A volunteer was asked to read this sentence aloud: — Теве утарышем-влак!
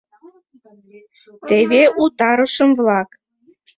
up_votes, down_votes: 0, 2